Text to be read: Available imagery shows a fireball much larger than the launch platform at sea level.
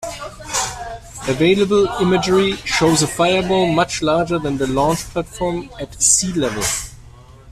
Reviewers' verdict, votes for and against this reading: rejected, 1, 2